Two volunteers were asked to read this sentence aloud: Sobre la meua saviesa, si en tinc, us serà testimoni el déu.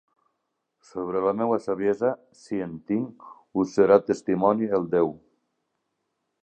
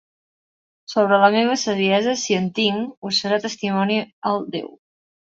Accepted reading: first